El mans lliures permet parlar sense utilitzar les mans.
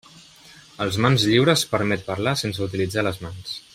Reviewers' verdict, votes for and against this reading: rejected, 0, 2